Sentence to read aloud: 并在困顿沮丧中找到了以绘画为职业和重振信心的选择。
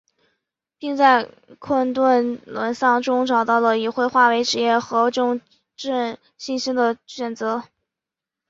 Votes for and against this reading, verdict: 3, 0, accepted